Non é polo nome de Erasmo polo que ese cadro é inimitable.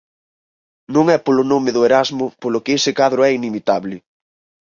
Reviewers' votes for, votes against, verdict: 2, 4, rejected